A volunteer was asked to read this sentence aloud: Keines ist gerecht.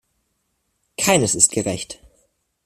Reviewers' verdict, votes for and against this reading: accepted, 2, 0